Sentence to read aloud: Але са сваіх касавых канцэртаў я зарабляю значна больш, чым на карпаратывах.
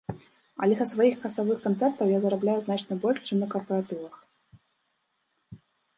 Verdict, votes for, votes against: rejected, 0, 2